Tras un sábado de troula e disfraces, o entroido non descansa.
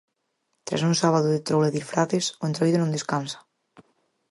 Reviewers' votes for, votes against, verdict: 4, 0, accepted